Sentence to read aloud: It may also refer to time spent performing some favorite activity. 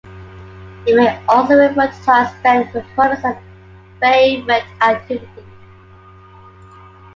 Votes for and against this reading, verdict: 2, 1, accepted